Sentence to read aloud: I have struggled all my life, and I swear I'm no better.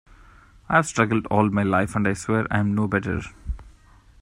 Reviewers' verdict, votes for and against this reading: rejected, 0, 2